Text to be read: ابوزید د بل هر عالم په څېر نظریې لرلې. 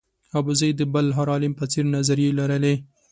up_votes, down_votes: 2, 0